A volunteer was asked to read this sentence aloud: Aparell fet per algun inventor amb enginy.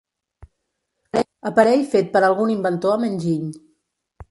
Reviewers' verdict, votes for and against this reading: rejected, 1, 2